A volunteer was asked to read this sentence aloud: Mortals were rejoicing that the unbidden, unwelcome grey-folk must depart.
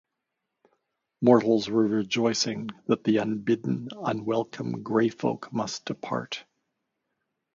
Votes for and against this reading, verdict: 2, 0, accepted